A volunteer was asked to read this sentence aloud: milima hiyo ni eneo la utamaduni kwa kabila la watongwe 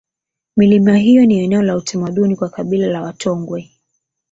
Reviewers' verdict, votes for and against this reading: accepted, 8, 0